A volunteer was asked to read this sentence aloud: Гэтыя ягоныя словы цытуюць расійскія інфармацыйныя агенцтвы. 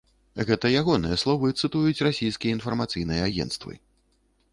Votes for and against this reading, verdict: 0, 2, rejected